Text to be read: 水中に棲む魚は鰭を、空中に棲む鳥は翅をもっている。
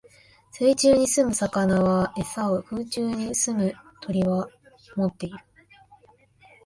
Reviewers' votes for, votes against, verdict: 0, 2, rejected